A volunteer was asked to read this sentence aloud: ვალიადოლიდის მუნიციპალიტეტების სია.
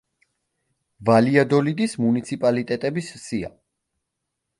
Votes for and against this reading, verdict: 2, 0, accepted